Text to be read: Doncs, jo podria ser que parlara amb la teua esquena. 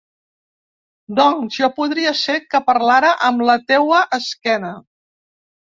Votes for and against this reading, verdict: 2, 0, accepted